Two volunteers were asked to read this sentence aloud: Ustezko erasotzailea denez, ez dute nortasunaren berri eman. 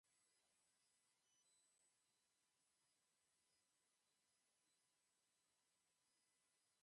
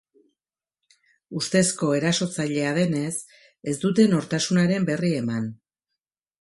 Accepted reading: second